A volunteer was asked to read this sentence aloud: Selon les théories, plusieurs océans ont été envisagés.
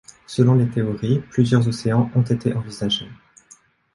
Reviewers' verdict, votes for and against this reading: accepted, 2, 0